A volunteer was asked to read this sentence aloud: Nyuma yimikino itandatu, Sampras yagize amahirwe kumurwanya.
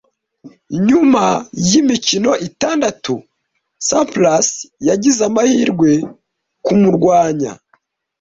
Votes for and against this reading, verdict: 2, 1, accepted